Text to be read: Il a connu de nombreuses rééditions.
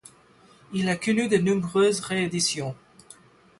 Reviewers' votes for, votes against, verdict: 8, 4, accepted